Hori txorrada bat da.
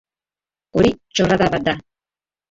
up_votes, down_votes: 0, 2